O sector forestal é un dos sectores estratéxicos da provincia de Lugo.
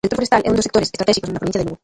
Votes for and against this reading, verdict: 0, 2, rejected